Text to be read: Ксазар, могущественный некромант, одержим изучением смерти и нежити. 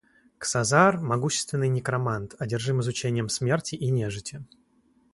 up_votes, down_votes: 0, 2